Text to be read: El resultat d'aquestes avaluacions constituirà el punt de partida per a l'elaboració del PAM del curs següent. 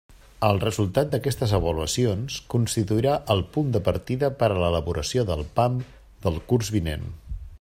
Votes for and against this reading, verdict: 0, 2, rejected